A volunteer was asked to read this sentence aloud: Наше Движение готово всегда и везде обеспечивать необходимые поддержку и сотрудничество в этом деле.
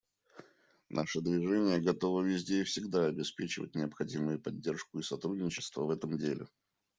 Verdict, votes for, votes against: rejected, 0, 2